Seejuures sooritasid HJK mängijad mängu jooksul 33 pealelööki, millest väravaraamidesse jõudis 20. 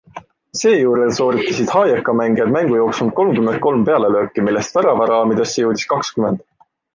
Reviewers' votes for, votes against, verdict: 0, 2, rejected